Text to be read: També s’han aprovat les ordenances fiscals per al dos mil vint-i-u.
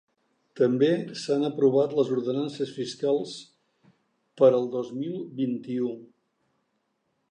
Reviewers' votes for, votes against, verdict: 4, 0, accepted